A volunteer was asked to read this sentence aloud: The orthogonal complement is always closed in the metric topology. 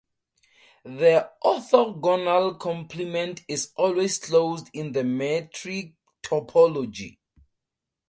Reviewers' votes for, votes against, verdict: 2, 0, accepted